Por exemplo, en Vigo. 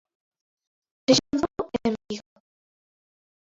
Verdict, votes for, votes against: rejected, 0, 2